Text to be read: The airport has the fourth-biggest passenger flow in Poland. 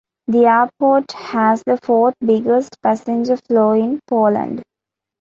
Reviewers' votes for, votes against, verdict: 2, 0, accepted